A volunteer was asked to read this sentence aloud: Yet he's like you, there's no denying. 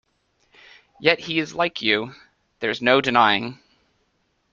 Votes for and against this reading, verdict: 1, 2, rejected